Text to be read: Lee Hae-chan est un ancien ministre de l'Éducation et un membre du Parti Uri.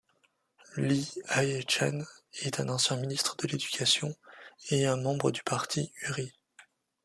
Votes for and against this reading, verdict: 2, 0, accepted